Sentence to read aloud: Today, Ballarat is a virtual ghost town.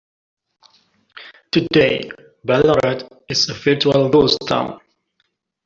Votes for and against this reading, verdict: 2, 1, accepted